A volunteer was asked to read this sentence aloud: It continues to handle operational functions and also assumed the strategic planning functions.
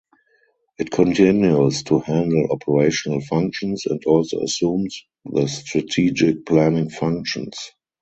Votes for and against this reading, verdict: 2, 2, rejected